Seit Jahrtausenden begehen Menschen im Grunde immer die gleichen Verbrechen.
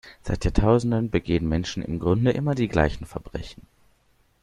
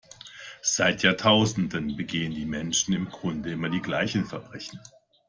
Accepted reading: first